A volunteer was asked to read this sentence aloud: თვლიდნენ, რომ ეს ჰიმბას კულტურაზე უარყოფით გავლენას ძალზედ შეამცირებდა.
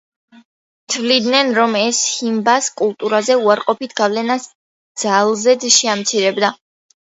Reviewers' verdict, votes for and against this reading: rejected, 1, 2